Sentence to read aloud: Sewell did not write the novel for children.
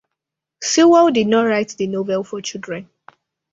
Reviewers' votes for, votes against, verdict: 2, 0, accepted